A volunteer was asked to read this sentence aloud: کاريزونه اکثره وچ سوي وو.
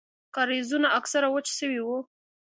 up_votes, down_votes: 2, 0